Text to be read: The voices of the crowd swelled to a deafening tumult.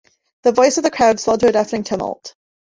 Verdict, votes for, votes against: rejected, 1, 2